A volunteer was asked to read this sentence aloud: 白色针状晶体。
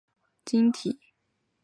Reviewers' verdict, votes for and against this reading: rejected, 0, 5